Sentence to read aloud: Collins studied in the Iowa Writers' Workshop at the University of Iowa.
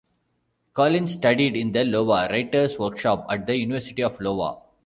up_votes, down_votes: 1, 2